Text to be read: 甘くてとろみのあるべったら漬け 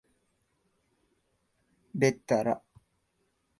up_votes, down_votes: 3, 4